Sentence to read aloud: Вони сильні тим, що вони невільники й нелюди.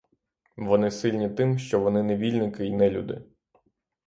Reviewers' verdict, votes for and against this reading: accepted, 3, 0